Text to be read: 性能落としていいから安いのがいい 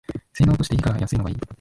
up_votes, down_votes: 0, 2